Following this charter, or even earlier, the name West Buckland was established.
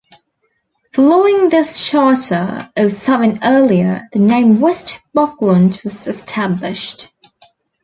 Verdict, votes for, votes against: rejected, 1, 2